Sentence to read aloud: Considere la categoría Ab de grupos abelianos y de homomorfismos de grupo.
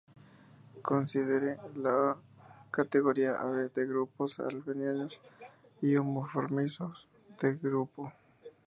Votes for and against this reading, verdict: 2, 0, accepted